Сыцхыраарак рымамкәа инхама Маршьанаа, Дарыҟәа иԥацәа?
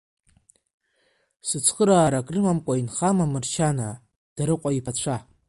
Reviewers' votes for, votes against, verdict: 1, 2, rejected